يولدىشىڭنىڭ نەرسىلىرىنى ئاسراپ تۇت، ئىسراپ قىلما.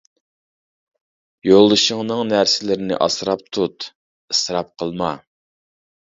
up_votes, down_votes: 2, 0